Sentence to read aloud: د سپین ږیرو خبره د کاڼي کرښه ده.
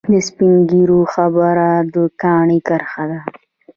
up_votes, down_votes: 0, 2